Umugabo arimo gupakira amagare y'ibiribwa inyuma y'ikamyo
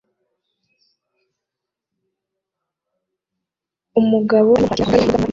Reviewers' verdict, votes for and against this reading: rejected, 0, 2